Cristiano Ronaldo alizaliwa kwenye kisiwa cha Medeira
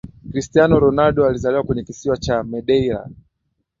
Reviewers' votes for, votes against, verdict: 3, 0, accepted